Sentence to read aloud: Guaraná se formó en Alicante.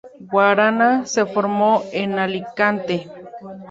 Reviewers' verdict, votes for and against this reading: accepted, 2, 0